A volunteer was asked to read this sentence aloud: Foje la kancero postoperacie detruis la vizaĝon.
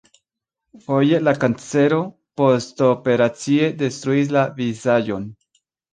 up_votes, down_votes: 2, 3